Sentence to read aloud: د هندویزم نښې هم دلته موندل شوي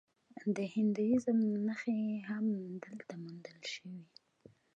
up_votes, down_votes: 2, 0